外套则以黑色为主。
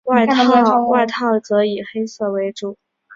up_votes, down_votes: 1, 3